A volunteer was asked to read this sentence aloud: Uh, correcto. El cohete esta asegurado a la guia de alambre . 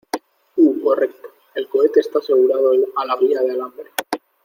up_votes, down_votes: 2, 0